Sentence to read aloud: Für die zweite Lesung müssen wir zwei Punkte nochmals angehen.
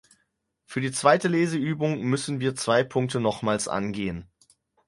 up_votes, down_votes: 0, 4